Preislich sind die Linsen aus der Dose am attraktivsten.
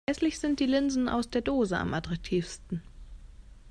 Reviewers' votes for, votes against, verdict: 1, 2, rejected